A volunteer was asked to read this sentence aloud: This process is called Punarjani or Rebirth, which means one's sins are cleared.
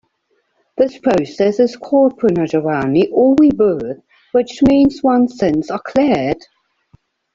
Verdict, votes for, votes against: rejected, 0, 2